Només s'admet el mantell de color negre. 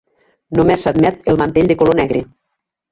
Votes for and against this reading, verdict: 1, 2, rejected